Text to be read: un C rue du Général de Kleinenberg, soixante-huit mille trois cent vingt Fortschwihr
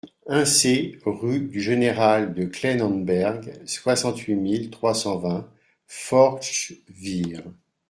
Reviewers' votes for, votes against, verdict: 1, 2, rejected